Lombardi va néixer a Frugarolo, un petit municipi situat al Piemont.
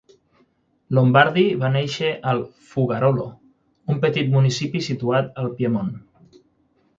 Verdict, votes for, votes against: rejected, 6, 9